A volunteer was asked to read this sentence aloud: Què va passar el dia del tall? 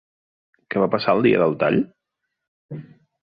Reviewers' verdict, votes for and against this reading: accepted, 2, 0